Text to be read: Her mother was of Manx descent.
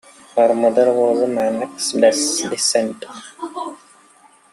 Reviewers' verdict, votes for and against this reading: rejected, 0, 2